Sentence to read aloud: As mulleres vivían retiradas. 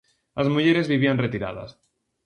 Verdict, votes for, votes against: accepted, 2, 0